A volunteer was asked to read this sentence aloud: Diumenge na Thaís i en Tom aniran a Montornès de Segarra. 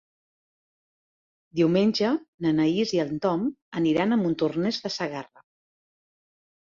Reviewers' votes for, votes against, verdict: 1, 2, rejected